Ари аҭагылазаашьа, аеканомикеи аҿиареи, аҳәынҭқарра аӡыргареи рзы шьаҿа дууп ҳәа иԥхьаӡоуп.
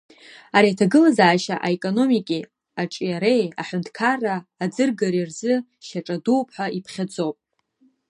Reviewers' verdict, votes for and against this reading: rejected, 2, 3